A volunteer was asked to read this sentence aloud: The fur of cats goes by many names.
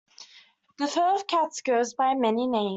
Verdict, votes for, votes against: rejected, 0, 2